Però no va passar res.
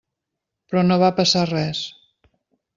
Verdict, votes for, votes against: accepted, 3, 0